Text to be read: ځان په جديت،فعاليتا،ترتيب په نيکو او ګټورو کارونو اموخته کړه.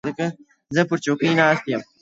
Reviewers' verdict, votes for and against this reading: rejected, 1, 2